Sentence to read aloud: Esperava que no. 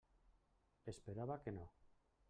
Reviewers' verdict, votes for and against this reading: rejected, 1, 2